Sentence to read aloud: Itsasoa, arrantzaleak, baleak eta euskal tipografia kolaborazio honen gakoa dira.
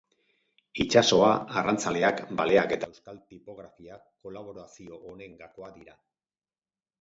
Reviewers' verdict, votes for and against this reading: rejected, 2, 4